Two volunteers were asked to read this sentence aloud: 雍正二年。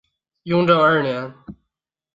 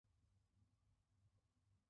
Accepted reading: first